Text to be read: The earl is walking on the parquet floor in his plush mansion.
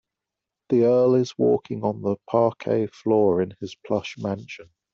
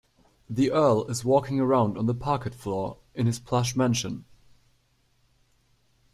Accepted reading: first